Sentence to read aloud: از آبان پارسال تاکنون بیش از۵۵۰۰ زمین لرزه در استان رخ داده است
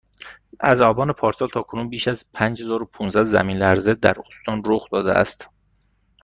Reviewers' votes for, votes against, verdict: 0, 2, rejected